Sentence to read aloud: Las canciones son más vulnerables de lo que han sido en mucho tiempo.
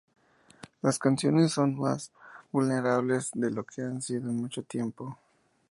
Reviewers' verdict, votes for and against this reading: accepted, 2, 0